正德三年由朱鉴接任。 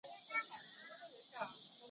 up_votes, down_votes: 1, 2